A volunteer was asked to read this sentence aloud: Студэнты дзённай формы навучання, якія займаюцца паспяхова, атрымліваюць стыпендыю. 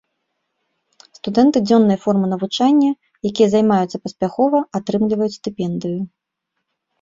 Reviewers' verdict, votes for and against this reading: accepted, 2, 0